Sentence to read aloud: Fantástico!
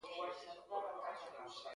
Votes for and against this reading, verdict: 0, 2, rejected